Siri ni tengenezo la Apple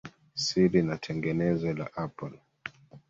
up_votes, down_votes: 1, 2